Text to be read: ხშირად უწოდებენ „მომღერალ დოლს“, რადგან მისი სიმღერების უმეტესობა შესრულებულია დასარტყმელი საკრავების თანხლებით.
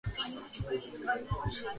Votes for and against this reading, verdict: 0, 3, rejected